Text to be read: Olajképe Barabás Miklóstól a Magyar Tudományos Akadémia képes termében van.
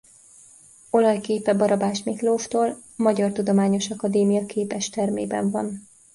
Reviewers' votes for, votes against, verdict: 0, 2, rejected